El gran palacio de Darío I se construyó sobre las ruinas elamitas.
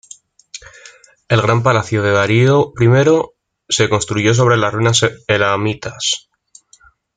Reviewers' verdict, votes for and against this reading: rejected, 1, 2